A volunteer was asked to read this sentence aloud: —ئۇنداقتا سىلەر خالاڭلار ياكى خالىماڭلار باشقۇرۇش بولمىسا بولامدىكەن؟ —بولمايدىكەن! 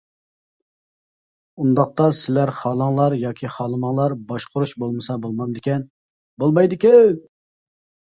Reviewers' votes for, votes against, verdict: 0, 2, rejected